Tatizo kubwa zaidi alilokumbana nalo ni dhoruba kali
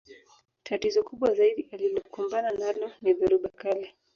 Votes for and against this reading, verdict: 1, 2, rejected